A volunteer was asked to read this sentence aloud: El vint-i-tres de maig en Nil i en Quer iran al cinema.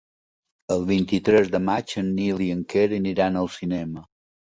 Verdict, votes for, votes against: rejected, 0, 2